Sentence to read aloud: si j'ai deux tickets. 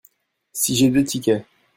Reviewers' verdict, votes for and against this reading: rejected, 1, 2